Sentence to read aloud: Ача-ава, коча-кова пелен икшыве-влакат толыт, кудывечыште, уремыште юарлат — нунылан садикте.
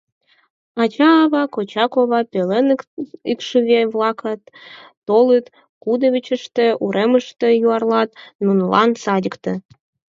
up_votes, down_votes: 2, 4